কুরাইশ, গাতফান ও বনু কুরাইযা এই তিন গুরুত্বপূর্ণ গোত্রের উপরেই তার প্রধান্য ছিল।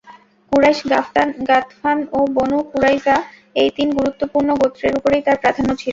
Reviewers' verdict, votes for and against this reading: rejected, 0, 2